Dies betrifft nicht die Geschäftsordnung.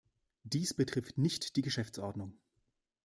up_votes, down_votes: 2, 0